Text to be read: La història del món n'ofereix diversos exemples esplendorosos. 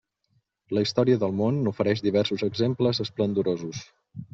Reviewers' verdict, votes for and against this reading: rejected, 1, 2